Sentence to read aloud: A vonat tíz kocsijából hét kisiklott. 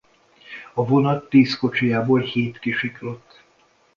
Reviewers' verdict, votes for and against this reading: accepted, 2, 0